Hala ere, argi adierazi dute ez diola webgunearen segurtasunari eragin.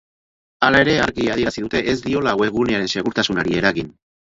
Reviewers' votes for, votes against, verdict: 4, 0, accepted